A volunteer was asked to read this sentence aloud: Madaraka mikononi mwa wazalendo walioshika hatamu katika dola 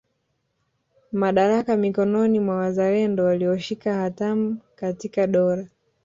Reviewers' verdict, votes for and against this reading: rejected, 1, 2